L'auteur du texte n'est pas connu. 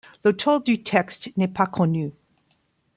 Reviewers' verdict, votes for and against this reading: accepted, 2, 0